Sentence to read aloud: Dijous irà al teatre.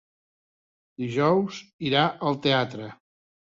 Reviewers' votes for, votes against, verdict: 3, 0, accepted